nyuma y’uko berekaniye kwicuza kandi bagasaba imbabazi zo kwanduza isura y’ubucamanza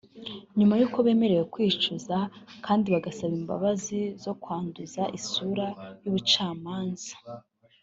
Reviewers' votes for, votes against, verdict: 0, 2, rejected